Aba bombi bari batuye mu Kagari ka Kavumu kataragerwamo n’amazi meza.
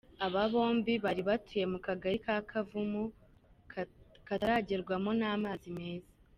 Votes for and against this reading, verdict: 1, 2, rejected